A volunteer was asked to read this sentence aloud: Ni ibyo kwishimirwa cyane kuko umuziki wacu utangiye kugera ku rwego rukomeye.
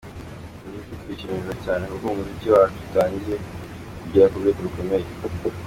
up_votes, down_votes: 2, 1